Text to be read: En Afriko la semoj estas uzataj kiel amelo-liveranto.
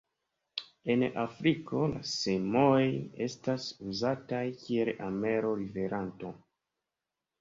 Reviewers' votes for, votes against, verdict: 2, 0, accepted